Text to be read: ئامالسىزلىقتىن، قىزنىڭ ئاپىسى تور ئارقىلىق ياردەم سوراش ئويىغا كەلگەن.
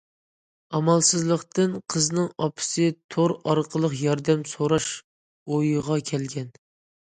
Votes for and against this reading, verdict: 2, 0, accepted